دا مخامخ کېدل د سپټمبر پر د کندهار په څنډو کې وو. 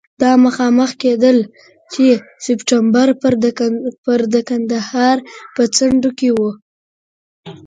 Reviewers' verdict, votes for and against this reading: rejected, 1, 2